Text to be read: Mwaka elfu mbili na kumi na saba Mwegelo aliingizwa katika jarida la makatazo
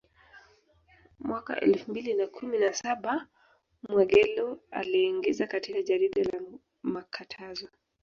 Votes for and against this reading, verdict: 0, 2, rejected